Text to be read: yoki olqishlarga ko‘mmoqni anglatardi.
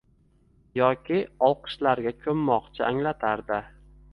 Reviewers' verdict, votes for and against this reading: rejected, 0, 2